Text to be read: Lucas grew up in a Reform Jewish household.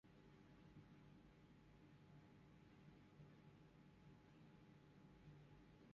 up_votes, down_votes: 0, 3